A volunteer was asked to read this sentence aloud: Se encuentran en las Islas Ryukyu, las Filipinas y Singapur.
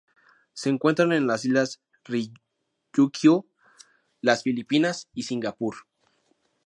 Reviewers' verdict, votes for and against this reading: rejected, 0, 2